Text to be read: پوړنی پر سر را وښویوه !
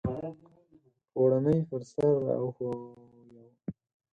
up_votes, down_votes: 2, 4